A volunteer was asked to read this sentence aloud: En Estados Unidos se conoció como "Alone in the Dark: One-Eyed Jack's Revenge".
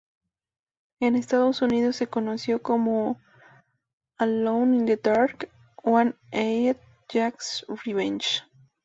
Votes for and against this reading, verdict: 0, 2, rejected